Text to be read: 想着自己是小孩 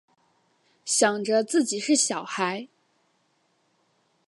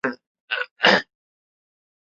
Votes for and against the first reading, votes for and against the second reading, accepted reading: 4, 1, 1, 2, first